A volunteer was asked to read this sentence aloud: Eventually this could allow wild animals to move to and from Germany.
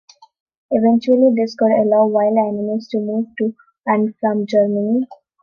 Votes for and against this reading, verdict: 2, 0, accepted